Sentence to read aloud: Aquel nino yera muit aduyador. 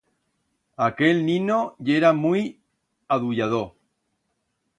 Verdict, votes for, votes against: accepted, 2, 0